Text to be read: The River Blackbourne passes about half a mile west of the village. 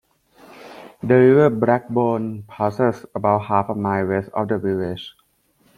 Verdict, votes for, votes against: accepted, 2, 0